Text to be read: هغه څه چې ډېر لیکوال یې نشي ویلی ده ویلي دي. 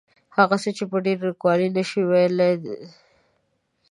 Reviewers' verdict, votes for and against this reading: rejected, 0, 2